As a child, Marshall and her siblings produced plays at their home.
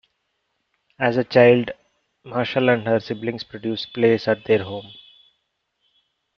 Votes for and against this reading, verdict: 2, 0, accepted